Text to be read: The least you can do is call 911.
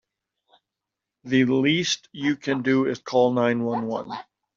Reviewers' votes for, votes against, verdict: 0, 2, rejected